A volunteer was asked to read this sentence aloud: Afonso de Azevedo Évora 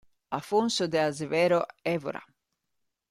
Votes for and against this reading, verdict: 0, 2, rejected